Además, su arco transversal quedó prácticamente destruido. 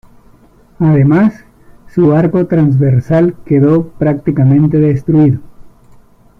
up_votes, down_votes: 0, 2